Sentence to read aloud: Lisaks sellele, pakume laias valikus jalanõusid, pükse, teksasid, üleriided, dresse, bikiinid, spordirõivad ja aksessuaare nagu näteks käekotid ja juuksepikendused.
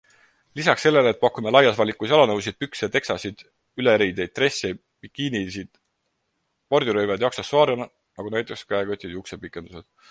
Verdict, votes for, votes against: rejected, 0, 4